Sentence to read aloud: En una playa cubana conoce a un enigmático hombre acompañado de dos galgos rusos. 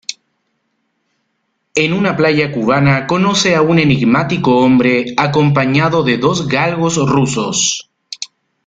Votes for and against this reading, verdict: 2, 0, accepted